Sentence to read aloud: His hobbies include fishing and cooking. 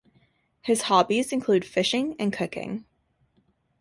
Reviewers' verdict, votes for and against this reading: rejected, 1, 2